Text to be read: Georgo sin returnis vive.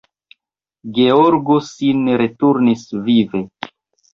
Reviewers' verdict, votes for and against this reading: accepted, 2, 1